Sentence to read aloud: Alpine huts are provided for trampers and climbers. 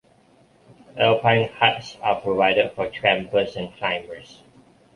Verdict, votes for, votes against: accepted, 2, 0